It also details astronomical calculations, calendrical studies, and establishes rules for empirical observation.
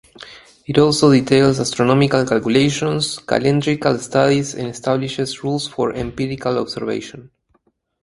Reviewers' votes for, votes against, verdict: 4, 0, accepted